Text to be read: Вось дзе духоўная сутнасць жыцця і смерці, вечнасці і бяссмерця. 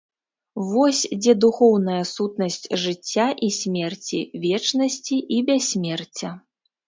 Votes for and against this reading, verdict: 2, 0, accepted